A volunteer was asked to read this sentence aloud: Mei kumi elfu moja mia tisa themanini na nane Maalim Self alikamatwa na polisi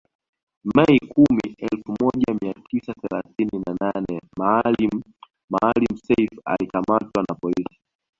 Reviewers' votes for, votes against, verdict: 0, 2, rejected